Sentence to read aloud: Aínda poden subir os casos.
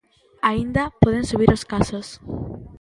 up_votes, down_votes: 2, 0